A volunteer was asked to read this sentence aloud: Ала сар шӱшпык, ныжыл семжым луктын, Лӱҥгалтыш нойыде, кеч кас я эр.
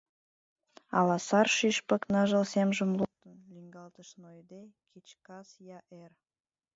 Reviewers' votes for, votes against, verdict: 1, 2, rejected